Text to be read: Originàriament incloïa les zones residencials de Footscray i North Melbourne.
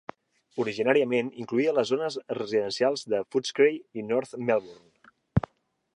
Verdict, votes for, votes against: accepted, 3, 0